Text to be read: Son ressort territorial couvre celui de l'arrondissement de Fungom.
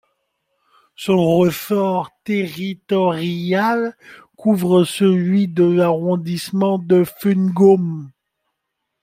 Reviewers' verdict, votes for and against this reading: rejected, 1, 2